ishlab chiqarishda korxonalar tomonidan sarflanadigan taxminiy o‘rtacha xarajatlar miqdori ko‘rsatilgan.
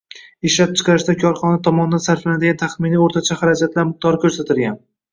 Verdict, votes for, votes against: rejected, 0, 2